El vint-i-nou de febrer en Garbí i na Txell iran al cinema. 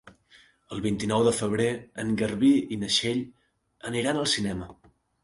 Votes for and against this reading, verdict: 1, 2, rejected